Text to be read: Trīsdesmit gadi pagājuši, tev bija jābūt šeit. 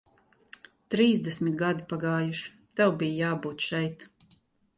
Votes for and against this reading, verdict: 0, 2, rejected